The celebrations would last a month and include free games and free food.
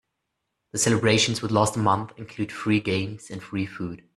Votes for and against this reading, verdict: 2, 0, accepted